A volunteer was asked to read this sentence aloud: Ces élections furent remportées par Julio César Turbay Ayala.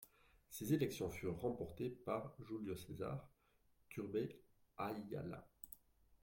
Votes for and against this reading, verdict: 2, 1, accepted